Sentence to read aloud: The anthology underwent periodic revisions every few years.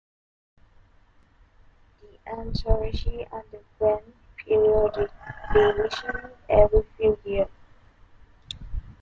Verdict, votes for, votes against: rejected, 0, 2